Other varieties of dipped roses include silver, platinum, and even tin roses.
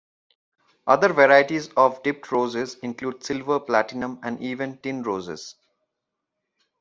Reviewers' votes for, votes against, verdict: 2, 0, accepted